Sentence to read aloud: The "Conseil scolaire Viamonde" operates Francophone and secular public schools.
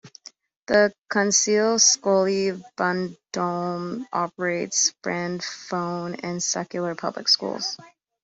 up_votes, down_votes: 0, 2